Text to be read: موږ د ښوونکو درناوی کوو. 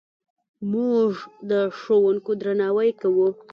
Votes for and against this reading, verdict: 2, 0, accepted